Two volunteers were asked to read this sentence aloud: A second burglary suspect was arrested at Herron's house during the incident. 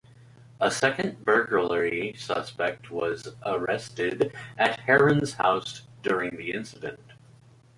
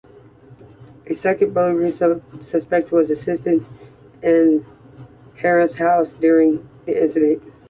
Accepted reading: first